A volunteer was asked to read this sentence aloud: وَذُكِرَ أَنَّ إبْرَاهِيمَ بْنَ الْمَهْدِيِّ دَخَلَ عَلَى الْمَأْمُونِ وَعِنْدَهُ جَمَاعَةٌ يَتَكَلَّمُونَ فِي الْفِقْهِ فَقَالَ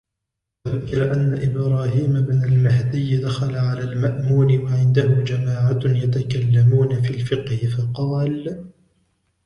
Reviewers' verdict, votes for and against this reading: rejected, 1, 2